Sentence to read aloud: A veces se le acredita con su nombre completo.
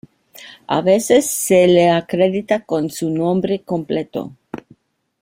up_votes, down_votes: 2, 0